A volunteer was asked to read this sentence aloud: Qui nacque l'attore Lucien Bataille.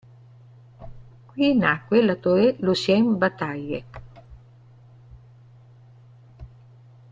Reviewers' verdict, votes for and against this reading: rejected, 1, 2